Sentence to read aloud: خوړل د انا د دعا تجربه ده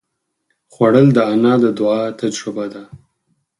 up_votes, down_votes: 4, 0